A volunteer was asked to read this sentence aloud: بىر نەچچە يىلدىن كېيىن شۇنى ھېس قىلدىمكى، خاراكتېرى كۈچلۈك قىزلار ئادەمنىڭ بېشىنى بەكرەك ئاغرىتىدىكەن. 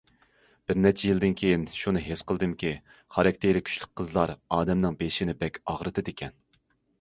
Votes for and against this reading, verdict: 1, 2, rejected